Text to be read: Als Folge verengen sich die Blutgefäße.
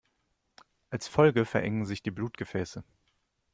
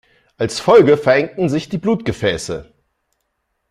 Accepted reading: first